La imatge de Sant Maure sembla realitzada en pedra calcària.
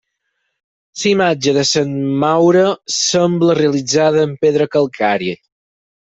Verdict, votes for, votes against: rejected, 2, 4